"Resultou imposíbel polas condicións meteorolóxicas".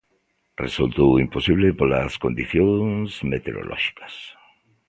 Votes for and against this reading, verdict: 0, 2, rejected